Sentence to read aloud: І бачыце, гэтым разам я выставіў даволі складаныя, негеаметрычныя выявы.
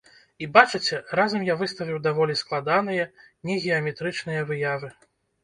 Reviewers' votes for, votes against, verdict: 0, 2, rejected